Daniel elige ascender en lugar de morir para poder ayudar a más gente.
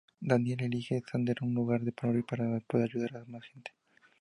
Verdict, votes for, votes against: rejected, 0, 2